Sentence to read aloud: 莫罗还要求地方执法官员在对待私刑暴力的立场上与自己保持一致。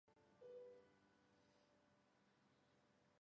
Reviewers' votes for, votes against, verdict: 2, 1, accepted